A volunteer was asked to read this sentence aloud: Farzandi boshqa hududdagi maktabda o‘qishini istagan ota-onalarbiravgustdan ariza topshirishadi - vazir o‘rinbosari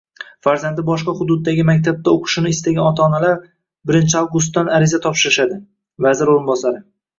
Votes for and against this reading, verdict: 1, 2, rejected